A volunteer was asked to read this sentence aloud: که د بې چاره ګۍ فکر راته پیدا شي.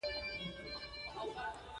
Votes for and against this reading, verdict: 0, 2, rejected